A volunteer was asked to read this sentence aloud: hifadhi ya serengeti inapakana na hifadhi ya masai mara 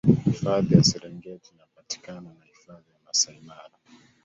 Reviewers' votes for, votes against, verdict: 3, 4, rejected